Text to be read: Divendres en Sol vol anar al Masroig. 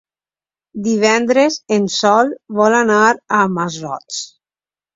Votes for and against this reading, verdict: 2, 0, accepted